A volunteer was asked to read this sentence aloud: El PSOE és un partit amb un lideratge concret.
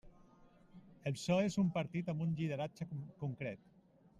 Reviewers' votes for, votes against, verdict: 0, 2, rejected